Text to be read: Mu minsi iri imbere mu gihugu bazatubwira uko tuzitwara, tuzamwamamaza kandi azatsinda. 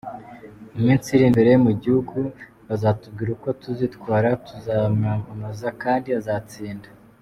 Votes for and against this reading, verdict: 2, 0, accepted